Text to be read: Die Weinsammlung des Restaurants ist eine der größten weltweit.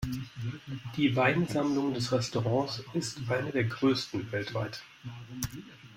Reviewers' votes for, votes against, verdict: 2, 0, accepted